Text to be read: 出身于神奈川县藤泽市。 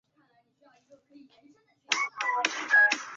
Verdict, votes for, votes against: rejected, 1, 2